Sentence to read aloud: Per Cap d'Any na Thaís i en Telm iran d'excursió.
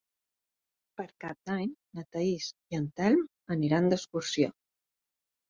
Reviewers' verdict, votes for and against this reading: rejected, 0, 2